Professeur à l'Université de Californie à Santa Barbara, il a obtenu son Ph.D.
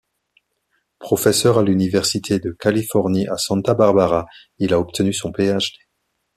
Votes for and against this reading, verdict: 0, 2, rejected